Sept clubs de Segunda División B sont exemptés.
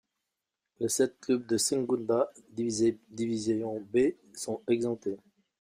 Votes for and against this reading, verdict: 0, 2, rejected